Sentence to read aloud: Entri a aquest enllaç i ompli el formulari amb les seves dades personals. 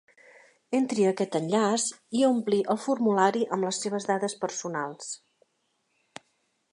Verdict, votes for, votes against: accepted, 2, 0